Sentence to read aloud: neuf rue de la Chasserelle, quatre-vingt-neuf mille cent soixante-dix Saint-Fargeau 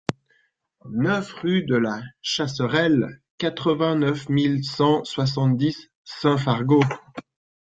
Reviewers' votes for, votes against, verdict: 2, 1, accepted